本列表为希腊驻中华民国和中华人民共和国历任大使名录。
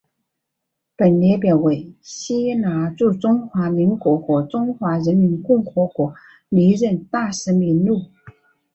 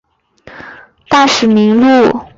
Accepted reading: first